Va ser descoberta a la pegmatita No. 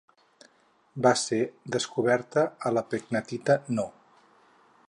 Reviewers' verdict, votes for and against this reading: rejected, 2, 4